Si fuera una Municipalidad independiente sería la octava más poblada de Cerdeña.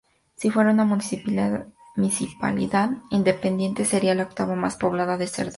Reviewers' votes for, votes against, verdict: 0, 2, rejected